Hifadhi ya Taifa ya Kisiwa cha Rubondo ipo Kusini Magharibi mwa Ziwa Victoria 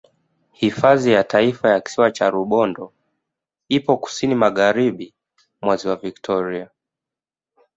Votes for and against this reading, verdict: 3, 1, accepted